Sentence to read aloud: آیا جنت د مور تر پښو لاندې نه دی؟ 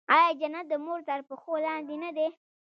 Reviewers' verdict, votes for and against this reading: accepted, 2, 0